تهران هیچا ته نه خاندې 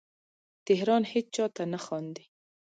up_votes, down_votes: 2, 1